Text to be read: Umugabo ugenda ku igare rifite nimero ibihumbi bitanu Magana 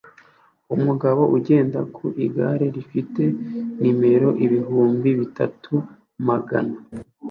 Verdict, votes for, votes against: rejected, 0, 2